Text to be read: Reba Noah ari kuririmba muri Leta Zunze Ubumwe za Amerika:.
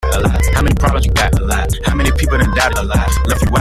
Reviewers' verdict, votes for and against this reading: rejected, 0, 2